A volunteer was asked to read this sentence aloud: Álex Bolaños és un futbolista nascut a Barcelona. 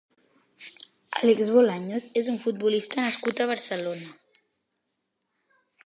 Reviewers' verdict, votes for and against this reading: accepted, 3, 0